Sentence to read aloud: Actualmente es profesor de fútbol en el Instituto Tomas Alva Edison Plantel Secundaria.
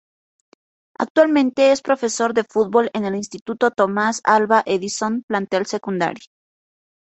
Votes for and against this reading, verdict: 1, 2, rejected